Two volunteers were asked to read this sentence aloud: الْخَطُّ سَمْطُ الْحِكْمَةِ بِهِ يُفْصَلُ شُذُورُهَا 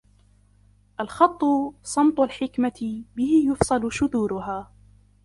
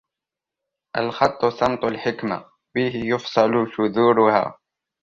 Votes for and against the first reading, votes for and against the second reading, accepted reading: 0, 2, 2, 0, second